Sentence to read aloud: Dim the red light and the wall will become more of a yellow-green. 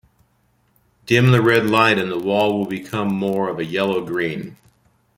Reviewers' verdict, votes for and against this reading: rejected, 1, 2